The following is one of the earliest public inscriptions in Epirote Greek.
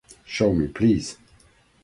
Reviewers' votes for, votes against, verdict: 0, 2, rejected